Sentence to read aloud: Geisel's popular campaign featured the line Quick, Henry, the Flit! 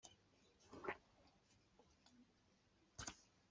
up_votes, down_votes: 0, 2